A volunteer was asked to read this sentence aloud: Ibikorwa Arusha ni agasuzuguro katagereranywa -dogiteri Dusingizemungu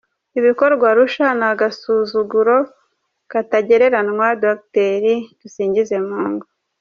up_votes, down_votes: 0, 2